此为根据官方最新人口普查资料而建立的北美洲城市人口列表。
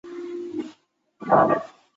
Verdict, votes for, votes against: rejected, 0, 3